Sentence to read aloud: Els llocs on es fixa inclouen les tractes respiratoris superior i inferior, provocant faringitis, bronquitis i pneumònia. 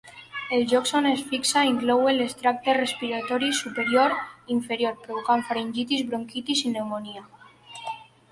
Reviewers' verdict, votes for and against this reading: accepted, 2, 0